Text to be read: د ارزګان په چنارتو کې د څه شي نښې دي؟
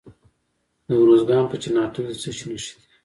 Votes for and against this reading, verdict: 2, 0, accepted